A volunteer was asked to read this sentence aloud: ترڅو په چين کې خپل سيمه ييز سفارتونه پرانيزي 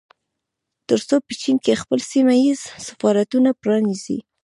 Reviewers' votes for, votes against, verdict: 2, 0, accepted